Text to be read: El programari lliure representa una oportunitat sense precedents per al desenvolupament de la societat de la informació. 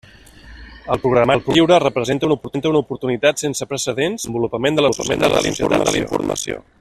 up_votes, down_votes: 0, 2